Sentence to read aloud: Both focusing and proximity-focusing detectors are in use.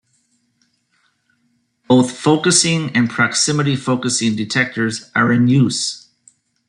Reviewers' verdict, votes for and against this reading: accepted, 2, 0